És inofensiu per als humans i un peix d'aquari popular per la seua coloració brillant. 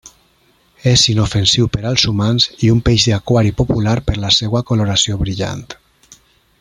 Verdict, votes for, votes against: accepted, 3, 0